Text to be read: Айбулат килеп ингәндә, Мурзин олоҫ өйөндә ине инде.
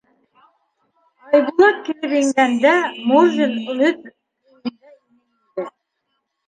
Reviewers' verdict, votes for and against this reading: rejected, 0, 2